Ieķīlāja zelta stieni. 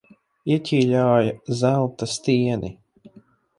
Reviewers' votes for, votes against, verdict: 2, 4, rejected